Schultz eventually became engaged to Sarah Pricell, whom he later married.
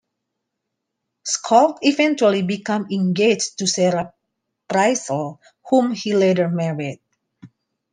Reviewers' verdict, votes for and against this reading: rejected, 0, 2